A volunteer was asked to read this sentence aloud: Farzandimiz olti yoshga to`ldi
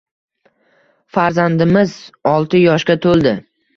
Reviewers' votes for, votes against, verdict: 2, 1, accepted